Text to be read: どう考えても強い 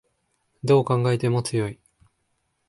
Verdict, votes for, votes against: rejected, 1, 2